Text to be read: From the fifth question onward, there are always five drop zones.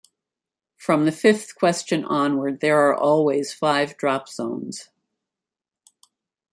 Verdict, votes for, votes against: accepted, 2, 0